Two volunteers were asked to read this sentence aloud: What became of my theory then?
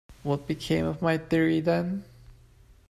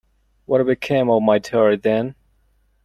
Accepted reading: first